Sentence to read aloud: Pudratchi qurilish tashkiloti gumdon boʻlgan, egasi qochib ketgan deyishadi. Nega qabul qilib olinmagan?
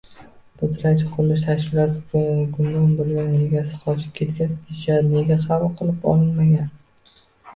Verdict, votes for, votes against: rejected, 0, 2